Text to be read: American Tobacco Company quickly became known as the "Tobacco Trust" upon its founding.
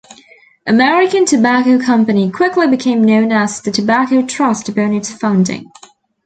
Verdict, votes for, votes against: rejected, 1, 2